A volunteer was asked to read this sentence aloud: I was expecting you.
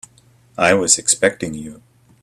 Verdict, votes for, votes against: accepted, 2, 0